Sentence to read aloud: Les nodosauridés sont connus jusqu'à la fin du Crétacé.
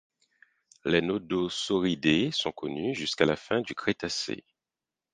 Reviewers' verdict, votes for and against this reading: accepted, 4, 0